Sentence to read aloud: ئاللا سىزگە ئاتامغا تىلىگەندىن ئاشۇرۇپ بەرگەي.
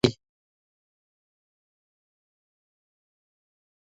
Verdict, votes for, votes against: rejected, 0, 2